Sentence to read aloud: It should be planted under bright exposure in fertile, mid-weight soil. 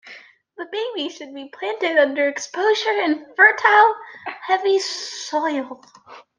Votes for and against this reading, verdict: 2, 1, accepted